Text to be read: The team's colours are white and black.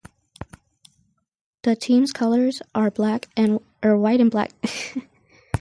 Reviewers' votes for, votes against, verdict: 0, 4, rejected